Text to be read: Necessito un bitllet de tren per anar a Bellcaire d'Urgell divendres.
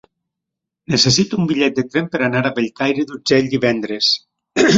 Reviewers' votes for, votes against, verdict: 2, 0, accepted